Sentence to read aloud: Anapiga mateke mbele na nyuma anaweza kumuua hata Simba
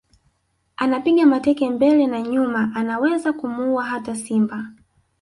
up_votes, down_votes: 2, 0